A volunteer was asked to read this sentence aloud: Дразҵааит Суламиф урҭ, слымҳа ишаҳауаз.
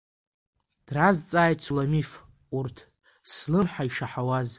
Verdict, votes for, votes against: rejected, 1, 2